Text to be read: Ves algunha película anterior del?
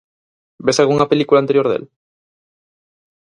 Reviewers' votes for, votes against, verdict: 2, 2, rejected